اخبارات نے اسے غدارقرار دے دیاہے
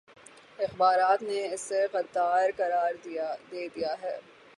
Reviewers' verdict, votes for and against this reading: rejected, 0, 6